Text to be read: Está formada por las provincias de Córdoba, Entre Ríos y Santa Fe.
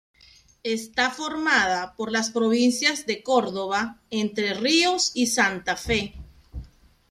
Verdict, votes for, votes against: accepted, 2, 0